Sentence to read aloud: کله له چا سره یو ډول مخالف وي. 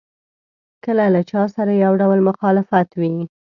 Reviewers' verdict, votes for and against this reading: rejected, 0, 2